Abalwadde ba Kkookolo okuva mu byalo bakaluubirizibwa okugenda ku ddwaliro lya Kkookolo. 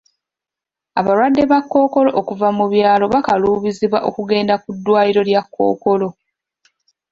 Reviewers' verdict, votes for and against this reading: rejected, 0, 2